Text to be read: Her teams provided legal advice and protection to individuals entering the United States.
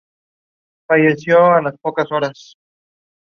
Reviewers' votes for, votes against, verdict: 0, 2, rejected